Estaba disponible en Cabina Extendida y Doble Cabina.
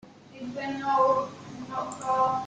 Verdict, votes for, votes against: rejected, 0, 2